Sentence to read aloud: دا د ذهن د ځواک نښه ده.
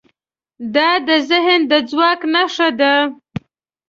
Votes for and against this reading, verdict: 3, 0, accepted